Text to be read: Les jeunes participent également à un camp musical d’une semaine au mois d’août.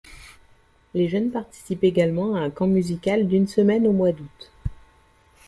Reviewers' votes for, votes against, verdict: 0, 2, rejected